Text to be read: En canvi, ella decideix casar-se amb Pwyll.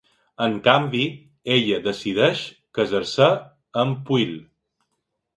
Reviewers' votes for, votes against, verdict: 0, 2, rejected